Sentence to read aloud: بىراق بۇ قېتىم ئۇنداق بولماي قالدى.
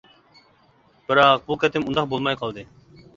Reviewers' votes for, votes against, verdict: 2, 0, accepted